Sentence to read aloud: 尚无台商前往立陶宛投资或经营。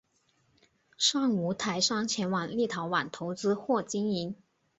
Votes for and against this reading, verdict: 4, 0, accepted